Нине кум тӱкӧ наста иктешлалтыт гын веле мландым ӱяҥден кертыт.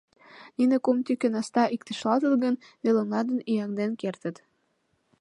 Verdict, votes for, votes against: rejected, 0, 2